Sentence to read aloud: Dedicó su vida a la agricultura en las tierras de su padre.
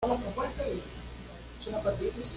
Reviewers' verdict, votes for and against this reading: rejected, 1, 2